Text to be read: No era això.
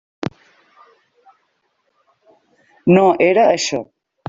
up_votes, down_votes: 3, 0